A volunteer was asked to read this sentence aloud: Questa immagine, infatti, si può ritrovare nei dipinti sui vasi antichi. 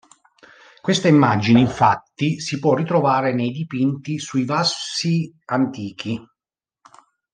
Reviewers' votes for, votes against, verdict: 1, 2, rejected